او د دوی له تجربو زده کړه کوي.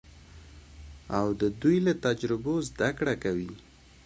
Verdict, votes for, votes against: accepted, 2, 1